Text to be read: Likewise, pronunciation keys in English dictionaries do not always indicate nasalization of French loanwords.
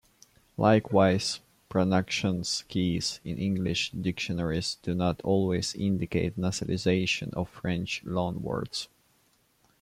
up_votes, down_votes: 0, 2